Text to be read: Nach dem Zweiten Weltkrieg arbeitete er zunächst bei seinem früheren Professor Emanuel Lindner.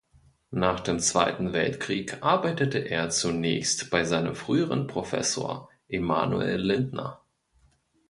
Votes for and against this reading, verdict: 2, 0, accepted